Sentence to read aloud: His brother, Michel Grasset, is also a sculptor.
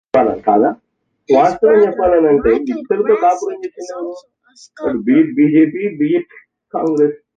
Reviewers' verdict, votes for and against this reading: rejected, 1, 2